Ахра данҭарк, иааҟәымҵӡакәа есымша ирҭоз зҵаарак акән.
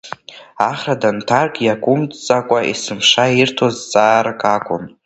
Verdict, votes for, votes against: accepted, 2, 1